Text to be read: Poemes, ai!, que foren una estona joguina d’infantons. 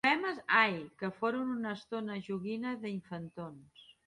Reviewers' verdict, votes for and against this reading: rejected, 1, 2